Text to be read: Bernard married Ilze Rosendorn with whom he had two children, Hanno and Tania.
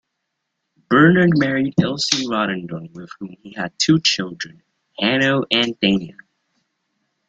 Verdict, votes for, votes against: rejected, 0, 2